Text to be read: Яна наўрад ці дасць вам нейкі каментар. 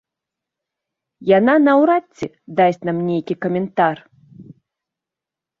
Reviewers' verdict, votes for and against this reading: rejected, 0, 2